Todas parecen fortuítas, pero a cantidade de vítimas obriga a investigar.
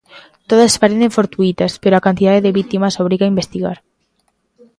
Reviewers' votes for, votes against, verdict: 2, 0, accepted